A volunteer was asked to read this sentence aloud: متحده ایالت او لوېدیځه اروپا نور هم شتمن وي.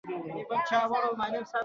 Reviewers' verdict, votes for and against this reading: accepted, 2, 1